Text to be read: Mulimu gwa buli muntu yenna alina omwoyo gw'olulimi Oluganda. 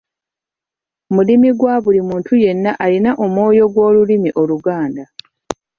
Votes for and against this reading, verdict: 1, 2, rejected